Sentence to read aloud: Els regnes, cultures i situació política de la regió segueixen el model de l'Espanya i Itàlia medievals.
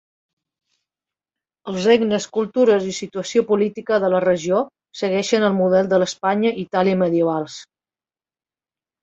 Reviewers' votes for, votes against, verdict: 2, 0, accepted